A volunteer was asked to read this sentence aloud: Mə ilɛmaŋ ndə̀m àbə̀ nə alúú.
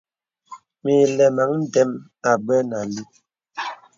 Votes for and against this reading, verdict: 2, 1, accepted